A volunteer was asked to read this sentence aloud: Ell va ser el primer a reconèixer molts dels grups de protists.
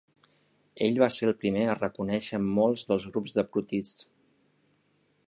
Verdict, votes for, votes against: rejected, 1, 2